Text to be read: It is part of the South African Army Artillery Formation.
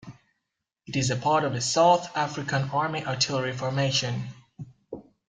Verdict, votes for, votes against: accepted, 2, 0